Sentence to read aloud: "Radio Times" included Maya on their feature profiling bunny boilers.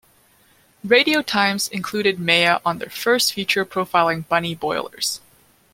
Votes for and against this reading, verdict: 1, 2, rejected